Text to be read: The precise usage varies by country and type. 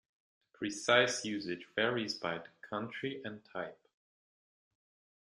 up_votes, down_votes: 0, 2